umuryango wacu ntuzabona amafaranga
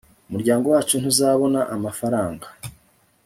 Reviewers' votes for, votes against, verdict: 2, 0, accepted